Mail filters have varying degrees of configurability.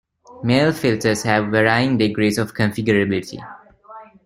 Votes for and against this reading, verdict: 0, 2, rejected